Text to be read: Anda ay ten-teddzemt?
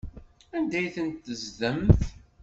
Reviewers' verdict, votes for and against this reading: accepted, 2, 0